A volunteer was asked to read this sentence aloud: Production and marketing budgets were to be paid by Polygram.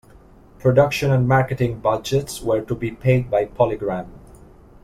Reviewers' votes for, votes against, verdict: 2, 0, accepted